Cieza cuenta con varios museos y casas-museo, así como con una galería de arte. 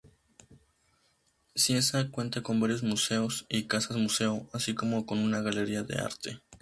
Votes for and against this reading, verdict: 2, 2, rejected